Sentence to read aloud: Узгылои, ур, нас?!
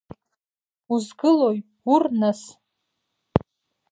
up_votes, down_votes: 2, 0